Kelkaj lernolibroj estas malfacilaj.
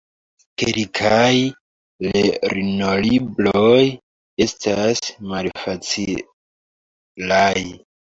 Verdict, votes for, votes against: rejected, 0, 2